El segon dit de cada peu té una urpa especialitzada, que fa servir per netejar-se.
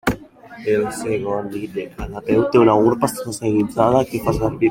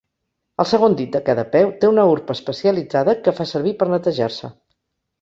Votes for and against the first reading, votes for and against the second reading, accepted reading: 0, 2, 2, 0, second